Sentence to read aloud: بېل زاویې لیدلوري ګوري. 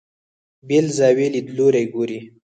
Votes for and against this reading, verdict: 0, 4, rejected